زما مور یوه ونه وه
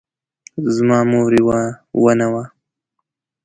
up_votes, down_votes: 2, 0